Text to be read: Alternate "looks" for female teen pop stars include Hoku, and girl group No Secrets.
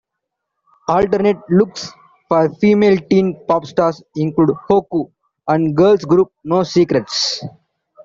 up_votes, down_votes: 0, 2